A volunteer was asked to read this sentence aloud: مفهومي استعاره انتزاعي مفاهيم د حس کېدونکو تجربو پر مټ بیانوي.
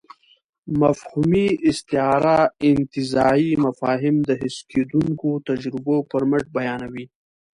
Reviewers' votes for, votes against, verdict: 2, 0, accepted